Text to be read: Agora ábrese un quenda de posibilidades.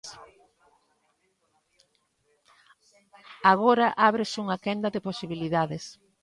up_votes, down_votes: 2, 0